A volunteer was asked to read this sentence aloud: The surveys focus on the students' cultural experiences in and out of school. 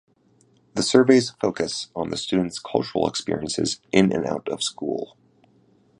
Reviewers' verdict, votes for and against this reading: accepted, 2, 0